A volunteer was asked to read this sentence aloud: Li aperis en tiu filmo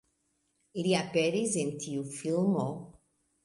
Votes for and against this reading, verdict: 1, 2, rejected